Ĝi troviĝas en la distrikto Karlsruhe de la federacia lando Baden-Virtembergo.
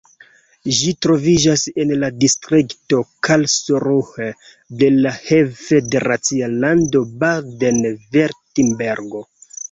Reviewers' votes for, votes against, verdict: 0, 3, rejected